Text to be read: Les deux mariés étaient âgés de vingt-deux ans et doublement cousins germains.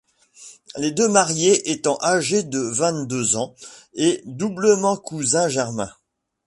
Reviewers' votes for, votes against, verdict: 1, 2, rejected